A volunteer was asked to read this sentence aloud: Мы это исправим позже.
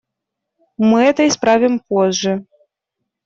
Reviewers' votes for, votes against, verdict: 2, 0, accepted